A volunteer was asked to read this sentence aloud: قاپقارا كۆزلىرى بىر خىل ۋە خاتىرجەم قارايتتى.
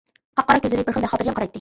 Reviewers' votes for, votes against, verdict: 0, 2, rejected